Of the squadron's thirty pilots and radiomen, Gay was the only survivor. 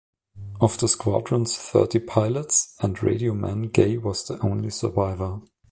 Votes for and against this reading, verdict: 2, 0, accepted